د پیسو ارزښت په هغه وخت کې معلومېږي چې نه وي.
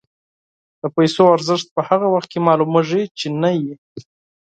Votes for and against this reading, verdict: 4, 0, accepted